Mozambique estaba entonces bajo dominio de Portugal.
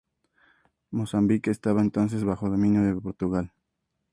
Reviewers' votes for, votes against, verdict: 2, 0, accepted